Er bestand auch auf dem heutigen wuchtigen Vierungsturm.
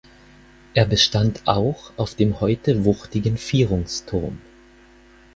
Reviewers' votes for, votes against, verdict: 2, 4, rejected